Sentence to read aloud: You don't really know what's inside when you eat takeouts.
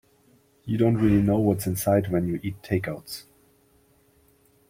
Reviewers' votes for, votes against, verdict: 2, 0, accepted